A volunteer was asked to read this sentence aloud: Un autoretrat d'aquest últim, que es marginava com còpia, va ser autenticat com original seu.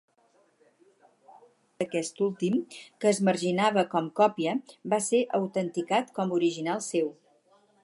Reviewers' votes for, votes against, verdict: 2, 4, rejected